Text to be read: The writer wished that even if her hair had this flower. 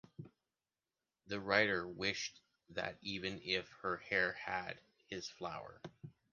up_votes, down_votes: 2, 1